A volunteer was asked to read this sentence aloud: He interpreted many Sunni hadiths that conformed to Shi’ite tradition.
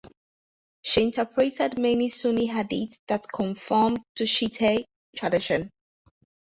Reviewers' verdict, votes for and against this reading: rejected, 2, 4